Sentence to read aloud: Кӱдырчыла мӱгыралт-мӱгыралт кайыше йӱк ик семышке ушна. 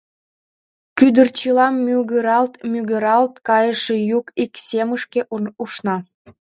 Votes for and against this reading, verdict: 0, 3, rejected